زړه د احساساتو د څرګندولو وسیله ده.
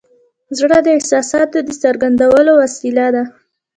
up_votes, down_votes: 2, 0